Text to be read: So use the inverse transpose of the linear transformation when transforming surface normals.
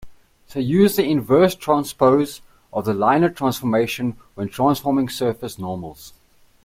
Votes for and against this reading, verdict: 1, 2, rejected